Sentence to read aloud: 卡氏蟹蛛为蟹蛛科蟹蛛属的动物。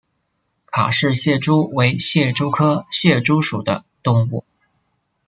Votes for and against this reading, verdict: 2, 0, accepted